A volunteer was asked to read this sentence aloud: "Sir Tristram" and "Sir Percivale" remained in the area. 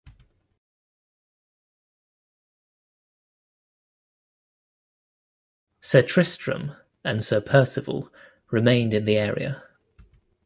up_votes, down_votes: 2, 1